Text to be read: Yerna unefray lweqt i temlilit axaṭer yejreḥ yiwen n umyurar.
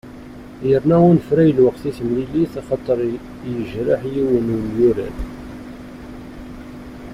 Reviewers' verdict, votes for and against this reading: accepted, 2, 0